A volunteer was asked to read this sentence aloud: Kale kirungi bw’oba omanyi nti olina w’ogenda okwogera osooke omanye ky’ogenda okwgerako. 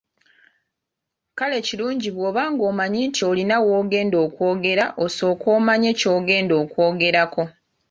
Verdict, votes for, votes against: rejected, 0, 2